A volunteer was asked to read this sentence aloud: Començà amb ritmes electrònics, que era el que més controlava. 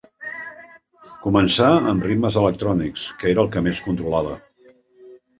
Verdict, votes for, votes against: accepted, 2, 0